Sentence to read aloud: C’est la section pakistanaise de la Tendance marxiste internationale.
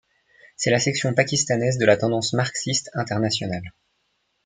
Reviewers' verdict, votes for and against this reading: accepted, 2, 0